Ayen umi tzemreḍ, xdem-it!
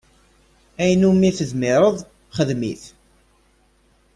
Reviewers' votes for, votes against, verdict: 0, 2, rejected